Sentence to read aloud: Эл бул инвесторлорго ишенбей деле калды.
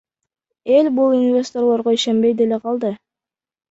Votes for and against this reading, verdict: 1, 2, rejected